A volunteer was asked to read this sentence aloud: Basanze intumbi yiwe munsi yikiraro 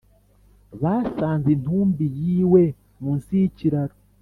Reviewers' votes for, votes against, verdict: 3, 0, accepted